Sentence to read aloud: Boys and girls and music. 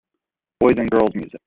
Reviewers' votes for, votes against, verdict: 1, 2, rejected